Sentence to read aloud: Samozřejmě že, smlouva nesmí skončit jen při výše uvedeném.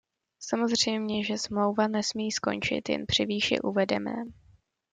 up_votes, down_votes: 2, 0